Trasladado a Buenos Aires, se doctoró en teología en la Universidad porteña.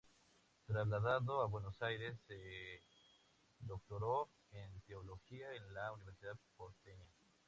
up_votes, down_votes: 0, 2